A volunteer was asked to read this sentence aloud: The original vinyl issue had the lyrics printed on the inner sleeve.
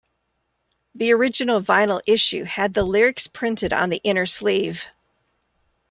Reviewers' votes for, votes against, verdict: 3, 0, accepted